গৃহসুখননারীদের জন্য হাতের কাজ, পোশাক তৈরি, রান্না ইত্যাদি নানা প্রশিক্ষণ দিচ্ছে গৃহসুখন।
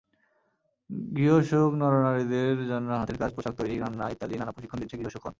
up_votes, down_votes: 0, 2